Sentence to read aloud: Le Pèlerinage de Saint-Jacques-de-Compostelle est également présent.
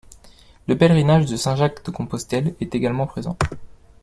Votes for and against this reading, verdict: 2, 0, accepted